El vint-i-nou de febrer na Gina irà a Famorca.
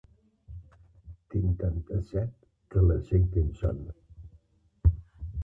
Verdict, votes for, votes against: rejected, 0, 2